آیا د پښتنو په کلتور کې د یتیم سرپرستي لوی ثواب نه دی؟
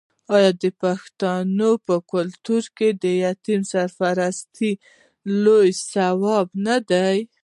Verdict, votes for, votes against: rejected, 0, 2